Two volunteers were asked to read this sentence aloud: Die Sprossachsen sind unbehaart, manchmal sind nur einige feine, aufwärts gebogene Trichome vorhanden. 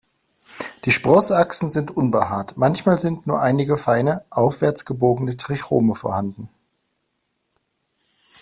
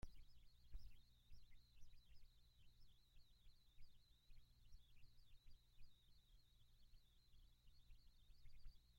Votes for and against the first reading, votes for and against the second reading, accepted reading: 2, 0, 0, 2, first